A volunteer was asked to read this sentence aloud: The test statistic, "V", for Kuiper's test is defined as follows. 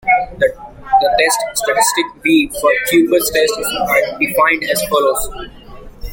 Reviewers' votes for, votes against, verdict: 2, 1, accepted